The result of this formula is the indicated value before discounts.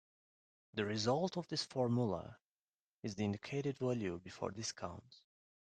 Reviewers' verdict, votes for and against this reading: rejected, 1, 2